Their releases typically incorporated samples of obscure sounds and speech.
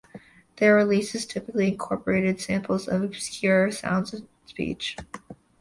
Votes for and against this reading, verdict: 2, 0, accepted